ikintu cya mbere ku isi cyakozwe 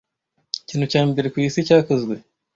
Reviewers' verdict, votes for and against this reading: accepted, 2, 0